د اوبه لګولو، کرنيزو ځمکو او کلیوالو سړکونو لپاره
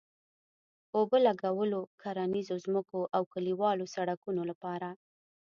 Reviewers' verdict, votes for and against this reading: accepted, 2, 0